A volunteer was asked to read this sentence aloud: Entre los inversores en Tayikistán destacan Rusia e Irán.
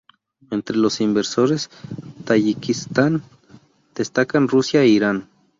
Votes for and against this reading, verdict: 0, 2, rejected